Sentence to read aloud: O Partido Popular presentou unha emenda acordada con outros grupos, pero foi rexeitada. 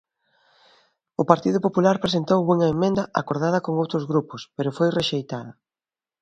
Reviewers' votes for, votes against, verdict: 1, 2, rejected